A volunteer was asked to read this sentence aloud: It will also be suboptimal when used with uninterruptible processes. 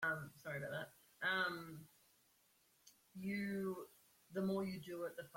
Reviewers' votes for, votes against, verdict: 0, 2, rejected